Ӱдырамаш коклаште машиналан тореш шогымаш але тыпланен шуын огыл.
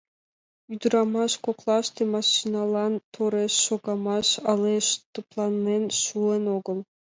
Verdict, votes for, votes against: accepted, 2, 1